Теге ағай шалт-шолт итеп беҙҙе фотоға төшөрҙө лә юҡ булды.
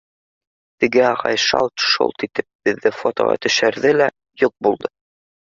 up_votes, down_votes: 2, 1